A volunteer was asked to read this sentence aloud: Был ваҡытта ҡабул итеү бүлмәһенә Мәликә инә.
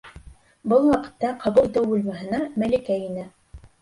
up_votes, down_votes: 1, 2